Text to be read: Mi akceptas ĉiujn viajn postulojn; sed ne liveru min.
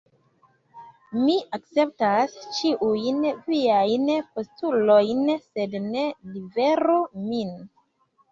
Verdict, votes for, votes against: rejected, 1, 2